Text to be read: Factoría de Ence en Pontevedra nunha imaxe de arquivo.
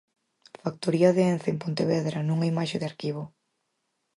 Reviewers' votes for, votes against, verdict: 4, 0, accepted